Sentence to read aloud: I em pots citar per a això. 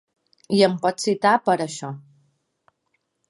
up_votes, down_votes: 2, 0